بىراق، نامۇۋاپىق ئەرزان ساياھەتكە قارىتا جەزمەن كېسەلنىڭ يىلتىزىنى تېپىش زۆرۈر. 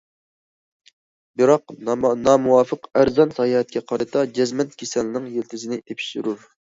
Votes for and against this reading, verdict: 0, 2, rejected